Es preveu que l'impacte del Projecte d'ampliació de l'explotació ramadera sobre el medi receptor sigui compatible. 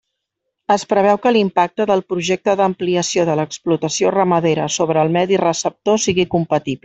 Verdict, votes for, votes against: rejected, 1, 2